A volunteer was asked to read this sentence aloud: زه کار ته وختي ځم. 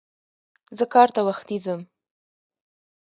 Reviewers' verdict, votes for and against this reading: accepted, 2, 0